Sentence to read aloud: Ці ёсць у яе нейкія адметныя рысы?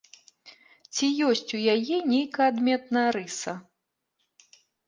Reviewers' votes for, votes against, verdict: 0, 2, rejected